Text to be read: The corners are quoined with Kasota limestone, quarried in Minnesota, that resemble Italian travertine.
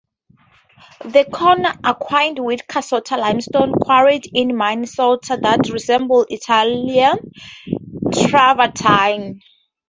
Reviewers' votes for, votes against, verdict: 0, 2, rejected